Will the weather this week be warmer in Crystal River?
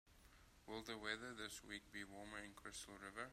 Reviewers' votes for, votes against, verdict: 2, 0, accepted